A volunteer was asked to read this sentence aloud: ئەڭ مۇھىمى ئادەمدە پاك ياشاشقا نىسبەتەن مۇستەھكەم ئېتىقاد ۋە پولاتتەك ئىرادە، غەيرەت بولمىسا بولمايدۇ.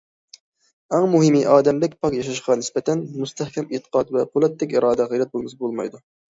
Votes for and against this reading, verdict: 2, 1, accepted